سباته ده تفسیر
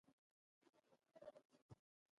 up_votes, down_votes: 0, 2